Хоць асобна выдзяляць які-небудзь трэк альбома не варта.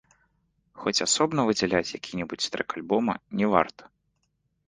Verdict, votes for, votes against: accepted, 2, 0